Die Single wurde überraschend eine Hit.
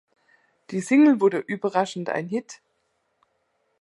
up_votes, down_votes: 1, 2